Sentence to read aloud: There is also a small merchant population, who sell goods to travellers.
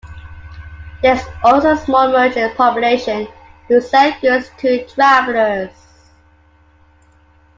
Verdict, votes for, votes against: rejected, 0, 2